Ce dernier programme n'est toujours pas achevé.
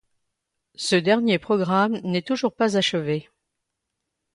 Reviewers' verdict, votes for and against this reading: accepted, 2, 0